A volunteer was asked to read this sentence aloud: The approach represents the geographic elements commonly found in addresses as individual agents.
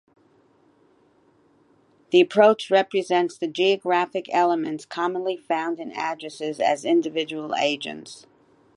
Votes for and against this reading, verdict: 2, 0, accepted